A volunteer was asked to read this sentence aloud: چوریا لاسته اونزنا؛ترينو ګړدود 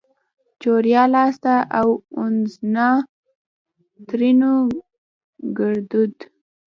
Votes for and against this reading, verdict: 1, 2, rejected